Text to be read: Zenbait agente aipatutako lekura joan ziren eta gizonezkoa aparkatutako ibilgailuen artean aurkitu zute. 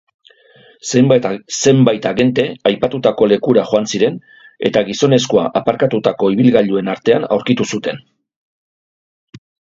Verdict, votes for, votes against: accepted, 2, 0